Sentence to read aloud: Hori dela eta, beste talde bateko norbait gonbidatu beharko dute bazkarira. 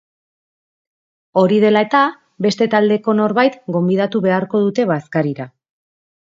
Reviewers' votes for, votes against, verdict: 2, 1, accepted